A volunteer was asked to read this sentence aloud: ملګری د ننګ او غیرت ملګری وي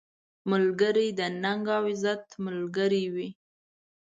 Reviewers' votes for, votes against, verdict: 1, 2, rejected